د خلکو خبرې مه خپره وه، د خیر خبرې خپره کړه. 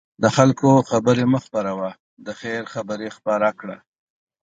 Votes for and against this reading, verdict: 2, 0, accepted